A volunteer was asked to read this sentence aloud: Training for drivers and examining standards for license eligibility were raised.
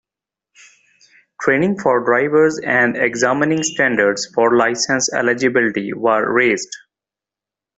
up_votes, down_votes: 2, 0